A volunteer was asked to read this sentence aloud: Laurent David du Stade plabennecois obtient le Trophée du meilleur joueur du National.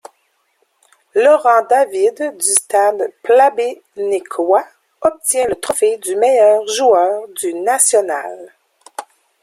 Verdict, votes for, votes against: rejected, 0, 2